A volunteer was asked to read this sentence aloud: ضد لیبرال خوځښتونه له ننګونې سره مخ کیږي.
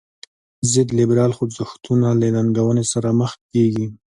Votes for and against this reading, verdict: 2, 0, accepted